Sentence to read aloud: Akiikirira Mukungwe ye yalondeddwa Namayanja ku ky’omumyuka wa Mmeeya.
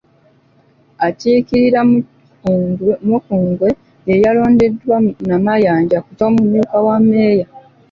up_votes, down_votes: 1, 2